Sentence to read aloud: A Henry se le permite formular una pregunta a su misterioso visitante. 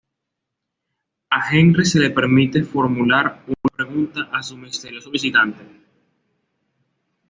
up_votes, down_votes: 1, 2